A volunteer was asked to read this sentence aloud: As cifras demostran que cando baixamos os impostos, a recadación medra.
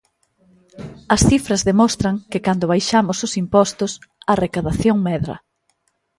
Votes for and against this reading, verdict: 2, 0, accepted